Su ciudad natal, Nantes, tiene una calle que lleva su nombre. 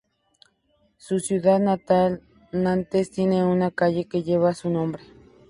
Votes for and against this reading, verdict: 2, 0, accepted